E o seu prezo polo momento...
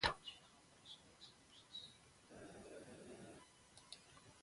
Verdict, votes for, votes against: rejected, 0, 2